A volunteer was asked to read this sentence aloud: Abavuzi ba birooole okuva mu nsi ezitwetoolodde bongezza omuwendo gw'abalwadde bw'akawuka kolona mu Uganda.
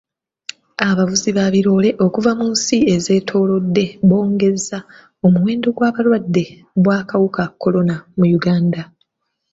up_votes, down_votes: 2, 1